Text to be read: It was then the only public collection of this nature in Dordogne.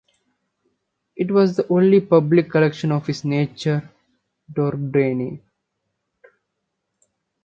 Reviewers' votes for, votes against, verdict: 0, 2, rejected